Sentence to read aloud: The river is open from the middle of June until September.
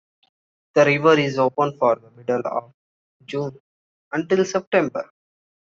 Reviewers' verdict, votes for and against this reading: rejected, 1, 2